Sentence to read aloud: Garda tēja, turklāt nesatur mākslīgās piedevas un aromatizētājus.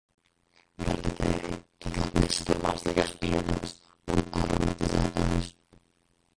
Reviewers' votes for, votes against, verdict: 0, 2, rejected